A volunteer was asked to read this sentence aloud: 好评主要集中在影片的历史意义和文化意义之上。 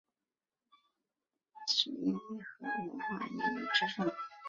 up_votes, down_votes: 1, 2